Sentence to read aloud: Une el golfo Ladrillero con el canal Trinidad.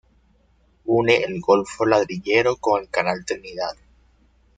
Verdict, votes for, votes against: rejected, 1, 2